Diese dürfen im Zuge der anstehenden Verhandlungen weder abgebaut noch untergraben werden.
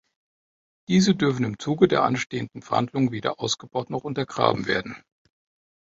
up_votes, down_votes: 1, 3